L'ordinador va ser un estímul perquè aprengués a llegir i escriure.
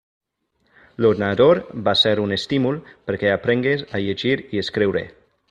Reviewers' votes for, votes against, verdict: 1, 2, rejected